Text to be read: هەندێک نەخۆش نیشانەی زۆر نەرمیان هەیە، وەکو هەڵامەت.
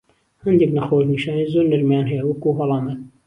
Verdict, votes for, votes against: accepted, 2, 0